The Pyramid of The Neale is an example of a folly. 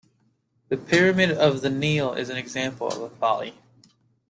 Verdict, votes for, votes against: accepted, 2, 0